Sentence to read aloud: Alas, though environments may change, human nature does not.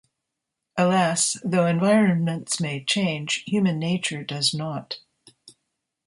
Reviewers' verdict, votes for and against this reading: accepted, 2, 0